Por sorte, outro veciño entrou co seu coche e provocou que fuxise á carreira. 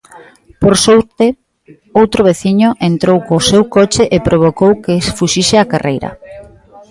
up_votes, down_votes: 2, 0